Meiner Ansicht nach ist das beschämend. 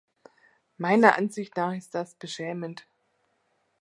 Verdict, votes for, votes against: accepted, 2, 0